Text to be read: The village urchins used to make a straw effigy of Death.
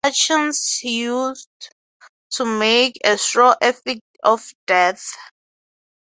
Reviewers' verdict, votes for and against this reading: rejected, 0, 3